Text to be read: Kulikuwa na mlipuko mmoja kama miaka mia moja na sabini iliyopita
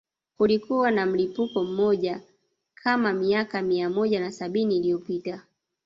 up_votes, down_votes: 2, 1